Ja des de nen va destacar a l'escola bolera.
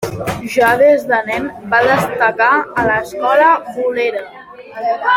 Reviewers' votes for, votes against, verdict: 1, 2, rejected